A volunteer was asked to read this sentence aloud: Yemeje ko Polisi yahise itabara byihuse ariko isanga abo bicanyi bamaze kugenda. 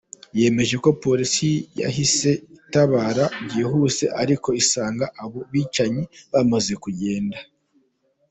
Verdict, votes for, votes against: accepted, 2, 0